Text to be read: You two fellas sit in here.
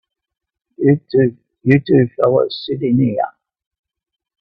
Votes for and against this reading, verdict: 0, 2, rejected